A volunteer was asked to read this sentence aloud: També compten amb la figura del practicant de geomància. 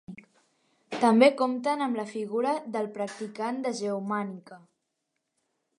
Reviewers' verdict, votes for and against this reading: rejected, 0, 3